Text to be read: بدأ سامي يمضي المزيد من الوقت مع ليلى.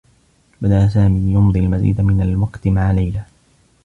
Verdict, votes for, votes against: accepted, 2, 0